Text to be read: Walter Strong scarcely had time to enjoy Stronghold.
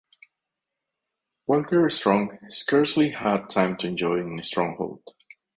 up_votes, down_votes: 0, 2